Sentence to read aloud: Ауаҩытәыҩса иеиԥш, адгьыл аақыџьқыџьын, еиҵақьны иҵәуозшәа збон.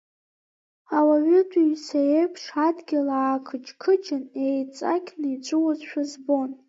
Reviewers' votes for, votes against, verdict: 1, 2, rejected